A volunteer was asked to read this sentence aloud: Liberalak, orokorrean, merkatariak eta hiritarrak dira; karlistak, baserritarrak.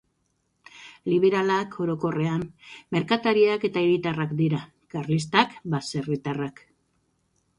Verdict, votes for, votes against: accepted, 2, 0